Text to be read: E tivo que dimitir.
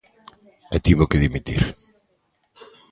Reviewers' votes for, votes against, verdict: 3, 0, accepted